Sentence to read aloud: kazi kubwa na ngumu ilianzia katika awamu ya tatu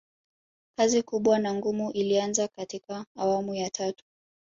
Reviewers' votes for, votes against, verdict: 1, 2, rejected